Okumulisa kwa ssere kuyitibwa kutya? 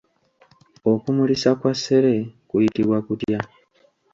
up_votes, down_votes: 0, 2